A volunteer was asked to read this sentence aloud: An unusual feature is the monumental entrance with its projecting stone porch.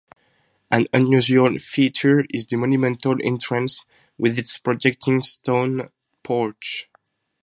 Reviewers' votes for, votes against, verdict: 2, 2, rejected